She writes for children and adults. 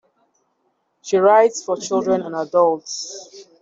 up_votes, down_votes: 2, 1